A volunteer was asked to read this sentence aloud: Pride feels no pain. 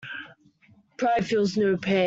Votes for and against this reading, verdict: 0, 2, rejected